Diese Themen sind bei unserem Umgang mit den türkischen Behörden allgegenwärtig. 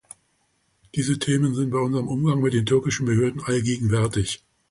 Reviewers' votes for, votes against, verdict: 2, 0, accepted